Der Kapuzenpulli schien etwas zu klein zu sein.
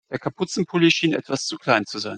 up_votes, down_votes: 2, 0